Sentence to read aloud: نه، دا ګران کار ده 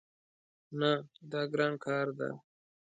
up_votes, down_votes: 2, 0